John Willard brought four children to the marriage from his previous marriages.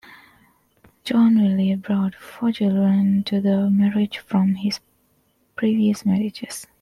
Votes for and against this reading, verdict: 2, 0, accepted